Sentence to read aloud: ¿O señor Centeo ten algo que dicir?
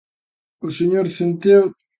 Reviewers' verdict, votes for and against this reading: rejected, 0, 2